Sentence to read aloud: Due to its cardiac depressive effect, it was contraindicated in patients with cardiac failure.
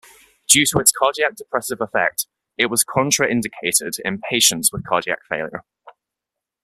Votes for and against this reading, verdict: 2, 0, accepted